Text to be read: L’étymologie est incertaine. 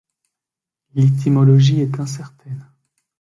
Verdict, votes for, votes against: rejected, 1, 2